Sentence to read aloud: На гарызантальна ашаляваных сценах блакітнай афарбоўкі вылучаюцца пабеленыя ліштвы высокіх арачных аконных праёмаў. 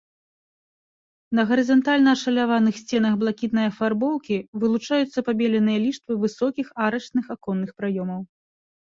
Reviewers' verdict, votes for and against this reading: accepted, 2, 0